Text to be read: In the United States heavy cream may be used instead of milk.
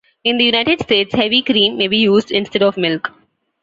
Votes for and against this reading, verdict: 2, 1, accepted